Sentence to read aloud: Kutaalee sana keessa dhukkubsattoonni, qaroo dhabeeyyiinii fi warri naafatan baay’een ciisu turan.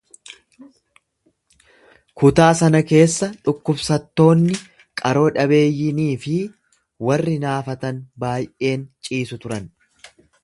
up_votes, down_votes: 0, 2